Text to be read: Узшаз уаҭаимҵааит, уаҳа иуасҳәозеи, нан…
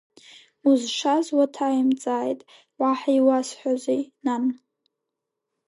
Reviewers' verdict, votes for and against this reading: accepted, 2, 0